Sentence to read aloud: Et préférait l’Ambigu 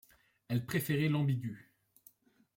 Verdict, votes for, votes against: rejected, 1, 2